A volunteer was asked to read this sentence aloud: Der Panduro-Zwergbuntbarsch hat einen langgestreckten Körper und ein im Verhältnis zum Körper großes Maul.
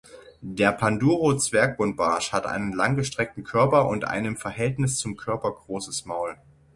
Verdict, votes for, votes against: accepted, 6, 0